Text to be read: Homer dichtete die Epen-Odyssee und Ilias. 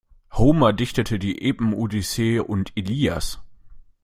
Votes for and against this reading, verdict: 1, 2, rejected